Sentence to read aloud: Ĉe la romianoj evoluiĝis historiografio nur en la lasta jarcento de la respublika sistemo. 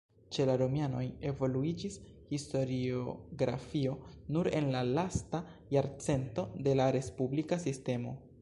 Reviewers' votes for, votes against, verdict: 3, 1, accepted